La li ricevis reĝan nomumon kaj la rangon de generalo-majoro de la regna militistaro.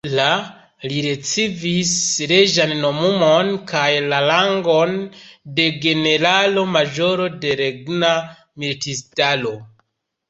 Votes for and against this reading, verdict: 0, 2, rejected